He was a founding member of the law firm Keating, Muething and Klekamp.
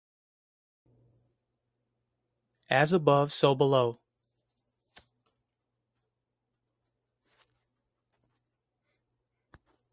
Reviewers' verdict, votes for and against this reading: rejected, 0, 2